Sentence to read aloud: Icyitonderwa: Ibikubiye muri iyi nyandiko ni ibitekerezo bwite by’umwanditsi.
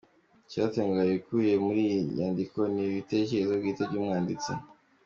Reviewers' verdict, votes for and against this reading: accepted, 2, 1